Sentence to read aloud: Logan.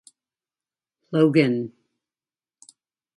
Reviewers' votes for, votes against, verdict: 2, 1, accepted